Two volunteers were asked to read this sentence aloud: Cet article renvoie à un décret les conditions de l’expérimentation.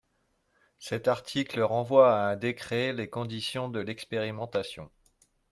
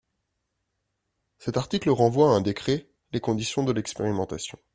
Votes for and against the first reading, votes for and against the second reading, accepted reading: 2, 0, 1, 2, first